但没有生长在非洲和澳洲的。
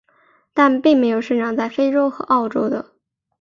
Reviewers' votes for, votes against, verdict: 1, 2, rejected